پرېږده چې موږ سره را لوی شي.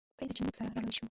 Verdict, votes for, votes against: rejected, 1, 2